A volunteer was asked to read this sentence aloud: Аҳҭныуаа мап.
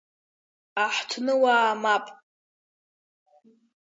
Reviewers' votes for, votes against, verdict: 2, 0, accepted